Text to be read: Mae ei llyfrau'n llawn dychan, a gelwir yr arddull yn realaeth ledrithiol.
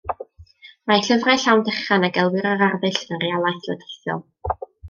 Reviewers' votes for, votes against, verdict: 1, 2, rejected